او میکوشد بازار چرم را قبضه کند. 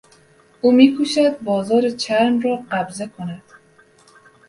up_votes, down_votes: 2, 0